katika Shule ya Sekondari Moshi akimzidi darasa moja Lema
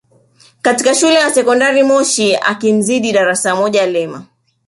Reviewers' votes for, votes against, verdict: 2, 0, accepted